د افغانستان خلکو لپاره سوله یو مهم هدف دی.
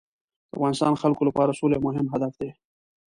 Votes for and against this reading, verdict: 2, 0, accepted